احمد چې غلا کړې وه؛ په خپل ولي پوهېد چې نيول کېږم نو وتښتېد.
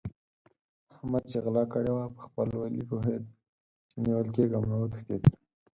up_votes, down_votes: 2, 4